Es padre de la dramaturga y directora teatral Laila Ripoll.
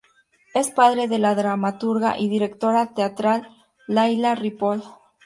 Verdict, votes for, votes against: accepted, 2, 0